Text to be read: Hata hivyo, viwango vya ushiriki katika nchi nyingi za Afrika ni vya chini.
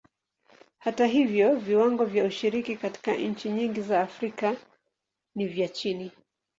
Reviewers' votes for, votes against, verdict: 14, 5, accepted